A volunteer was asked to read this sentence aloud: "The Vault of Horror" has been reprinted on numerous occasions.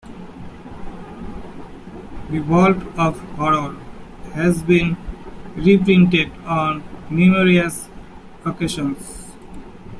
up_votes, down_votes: 2, 1